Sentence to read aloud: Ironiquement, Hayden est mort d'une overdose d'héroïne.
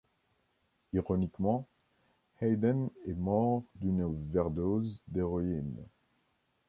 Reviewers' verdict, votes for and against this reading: rejected, 0, 2